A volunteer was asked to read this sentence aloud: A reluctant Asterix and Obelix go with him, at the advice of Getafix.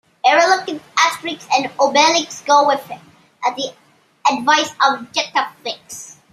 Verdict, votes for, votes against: rejected, 0, 2